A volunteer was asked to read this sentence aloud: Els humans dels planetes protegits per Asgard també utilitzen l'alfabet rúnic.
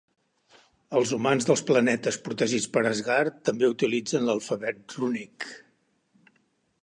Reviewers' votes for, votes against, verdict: 2, 0, accepted